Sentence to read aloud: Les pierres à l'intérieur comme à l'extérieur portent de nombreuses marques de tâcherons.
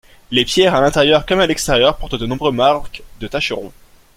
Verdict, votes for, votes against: rejected, 0, 2